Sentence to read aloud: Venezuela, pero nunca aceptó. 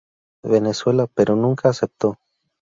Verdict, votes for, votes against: rejected, 0, 2